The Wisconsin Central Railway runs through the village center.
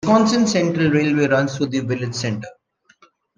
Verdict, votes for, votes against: rejected, 0, 2